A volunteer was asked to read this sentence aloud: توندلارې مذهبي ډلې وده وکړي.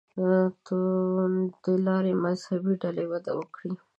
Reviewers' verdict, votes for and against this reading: rejected, 1, 2